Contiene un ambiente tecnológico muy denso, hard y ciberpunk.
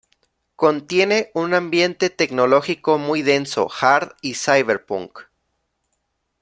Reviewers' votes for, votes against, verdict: 2, 0, accepted